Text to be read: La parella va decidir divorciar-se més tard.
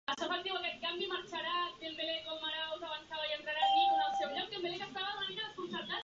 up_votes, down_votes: 0, 2